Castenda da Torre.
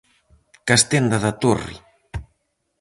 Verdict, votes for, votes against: accepted, 4, 0